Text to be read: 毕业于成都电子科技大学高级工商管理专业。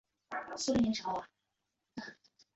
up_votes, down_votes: 0, 4